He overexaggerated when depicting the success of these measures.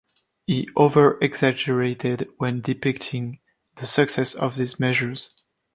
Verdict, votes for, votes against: accepted, 2, 0